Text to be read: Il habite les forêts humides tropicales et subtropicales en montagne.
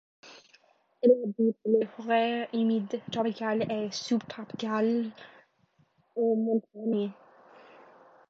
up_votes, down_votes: 0, 2